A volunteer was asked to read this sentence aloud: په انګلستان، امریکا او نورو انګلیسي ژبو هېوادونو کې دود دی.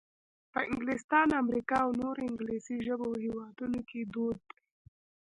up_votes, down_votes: 1, 2